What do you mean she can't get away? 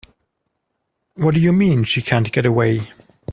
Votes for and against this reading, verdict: 2, 0, accepted